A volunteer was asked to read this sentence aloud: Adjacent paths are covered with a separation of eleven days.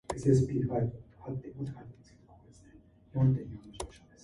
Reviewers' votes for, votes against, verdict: 0, 2, rejected